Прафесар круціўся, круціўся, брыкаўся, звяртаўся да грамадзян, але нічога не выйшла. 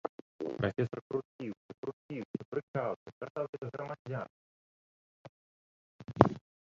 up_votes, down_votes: 0, 2